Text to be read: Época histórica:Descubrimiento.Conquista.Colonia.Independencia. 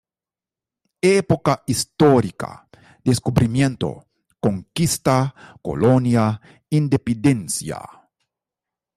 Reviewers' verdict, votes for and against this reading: rejected, 1, 2